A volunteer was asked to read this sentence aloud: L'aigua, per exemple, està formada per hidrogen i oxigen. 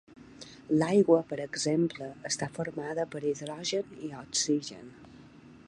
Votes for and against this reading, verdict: 2, 0, accepted